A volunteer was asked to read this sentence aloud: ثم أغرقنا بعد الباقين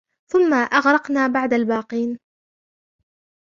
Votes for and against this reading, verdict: 2, 3, rejected